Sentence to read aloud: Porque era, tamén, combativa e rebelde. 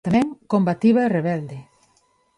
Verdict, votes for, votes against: rejected, 1, 2